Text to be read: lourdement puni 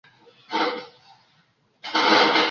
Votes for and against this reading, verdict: 0, 2, rejected